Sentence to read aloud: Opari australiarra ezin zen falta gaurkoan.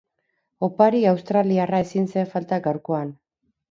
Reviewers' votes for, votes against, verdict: 8, 0, accepted